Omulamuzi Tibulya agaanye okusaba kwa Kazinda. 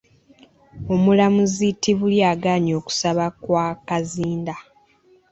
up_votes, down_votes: 2, 0